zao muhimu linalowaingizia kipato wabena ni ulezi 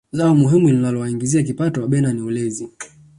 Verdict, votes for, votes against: rejected, 1, 2